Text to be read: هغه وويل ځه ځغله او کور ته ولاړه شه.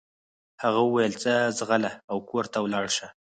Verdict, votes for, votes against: rejected, 0, 4